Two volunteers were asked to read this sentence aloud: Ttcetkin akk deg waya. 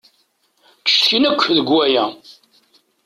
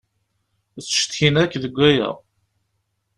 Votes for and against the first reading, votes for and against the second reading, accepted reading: 1, 2, 2, 0, second